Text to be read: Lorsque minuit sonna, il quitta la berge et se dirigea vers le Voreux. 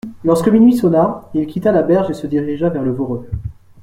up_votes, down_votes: 2, 0